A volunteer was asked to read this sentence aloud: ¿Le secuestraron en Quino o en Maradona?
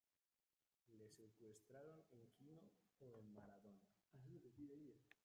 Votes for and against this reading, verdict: 0, 2, rejected